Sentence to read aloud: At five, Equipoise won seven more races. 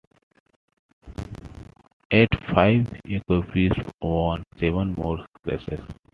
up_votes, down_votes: 1, 2